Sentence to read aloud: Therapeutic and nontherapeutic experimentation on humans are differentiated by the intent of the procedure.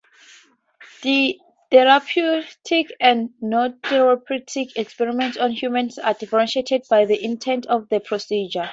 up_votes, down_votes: 2, 0